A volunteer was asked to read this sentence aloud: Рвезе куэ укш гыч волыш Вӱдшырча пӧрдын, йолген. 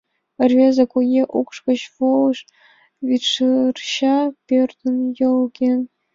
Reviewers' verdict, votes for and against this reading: rejected, 1, 7